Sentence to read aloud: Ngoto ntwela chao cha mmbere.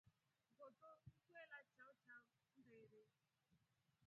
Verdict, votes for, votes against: rejected, 1, 2